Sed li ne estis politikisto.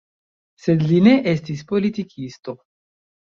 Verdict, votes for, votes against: rejected, 1, 2